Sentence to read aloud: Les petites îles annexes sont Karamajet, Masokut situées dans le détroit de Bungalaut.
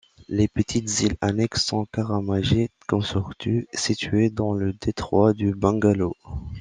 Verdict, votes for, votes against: rejected, 1, 2